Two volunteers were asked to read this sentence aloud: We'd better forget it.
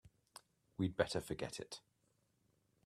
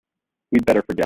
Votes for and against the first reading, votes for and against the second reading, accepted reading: 3, 0, 0, 2, first